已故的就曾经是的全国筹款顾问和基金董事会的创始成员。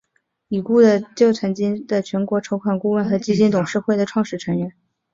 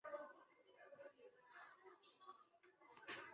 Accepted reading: first